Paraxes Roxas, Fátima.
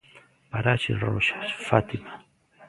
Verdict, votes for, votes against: rejected, 0, 2